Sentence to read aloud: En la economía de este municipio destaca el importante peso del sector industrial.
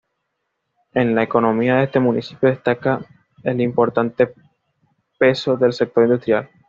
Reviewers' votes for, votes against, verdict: 2, 1, accepted